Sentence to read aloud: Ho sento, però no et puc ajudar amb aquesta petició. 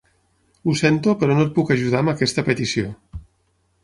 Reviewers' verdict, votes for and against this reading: accepted, 9, 0